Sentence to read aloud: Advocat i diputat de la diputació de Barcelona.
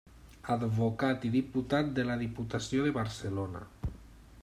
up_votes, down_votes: 3, 0